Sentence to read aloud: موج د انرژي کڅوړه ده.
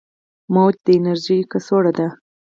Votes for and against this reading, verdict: 2, 4, rejected